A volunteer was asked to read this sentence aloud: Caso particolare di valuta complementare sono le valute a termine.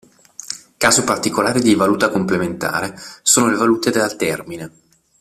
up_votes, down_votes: 0, 2